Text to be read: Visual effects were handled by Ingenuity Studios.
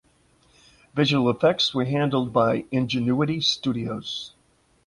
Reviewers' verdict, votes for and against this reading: accepted, 2, 0